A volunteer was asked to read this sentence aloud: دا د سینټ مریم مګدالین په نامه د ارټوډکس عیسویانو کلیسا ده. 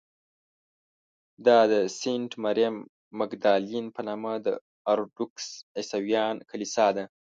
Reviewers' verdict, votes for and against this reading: rejected, 0, 2